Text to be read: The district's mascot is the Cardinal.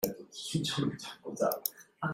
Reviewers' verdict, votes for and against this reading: rejected, 0, 2